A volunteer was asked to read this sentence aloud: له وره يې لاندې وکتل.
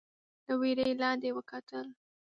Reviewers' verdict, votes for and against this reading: accepted, 2, 0